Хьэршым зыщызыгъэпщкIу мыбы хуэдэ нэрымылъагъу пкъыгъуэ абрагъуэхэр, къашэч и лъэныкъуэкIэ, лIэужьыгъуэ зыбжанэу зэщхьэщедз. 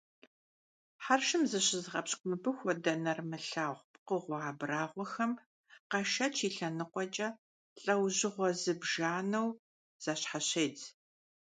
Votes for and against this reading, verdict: 1, 2, rejected